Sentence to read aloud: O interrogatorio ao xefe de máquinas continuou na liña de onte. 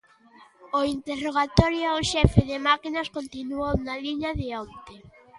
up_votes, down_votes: 2, 0